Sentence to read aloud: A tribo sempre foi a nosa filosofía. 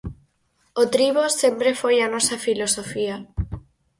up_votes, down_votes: 0, 4